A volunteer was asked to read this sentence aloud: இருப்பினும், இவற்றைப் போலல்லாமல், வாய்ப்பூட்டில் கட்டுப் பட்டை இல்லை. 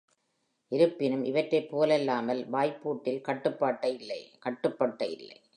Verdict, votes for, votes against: rejected, 0, 2